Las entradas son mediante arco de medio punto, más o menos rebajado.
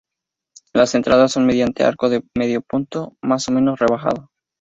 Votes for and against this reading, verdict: 0, 2, rejected